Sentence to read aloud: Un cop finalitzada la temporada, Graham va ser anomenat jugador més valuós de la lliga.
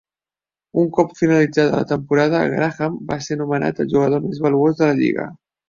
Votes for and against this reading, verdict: 1, 2, rejected